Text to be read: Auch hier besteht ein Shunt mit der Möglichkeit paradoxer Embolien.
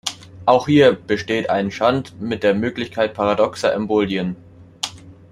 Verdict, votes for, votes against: accepted, 2, 0